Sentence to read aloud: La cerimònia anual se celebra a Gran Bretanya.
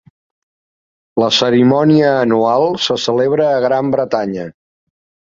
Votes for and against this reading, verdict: 3, 0, accepted